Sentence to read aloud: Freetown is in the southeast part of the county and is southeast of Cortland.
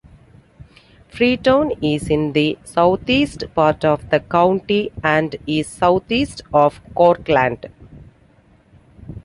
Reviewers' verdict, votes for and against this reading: accepted, 3, 0